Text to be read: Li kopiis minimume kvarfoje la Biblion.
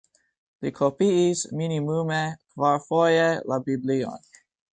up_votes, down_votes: 2, 1